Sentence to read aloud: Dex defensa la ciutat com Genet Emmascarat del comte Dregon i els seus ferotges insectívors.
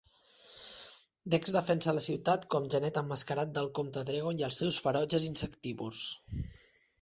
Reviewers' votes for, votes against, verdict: 2, 0, accepted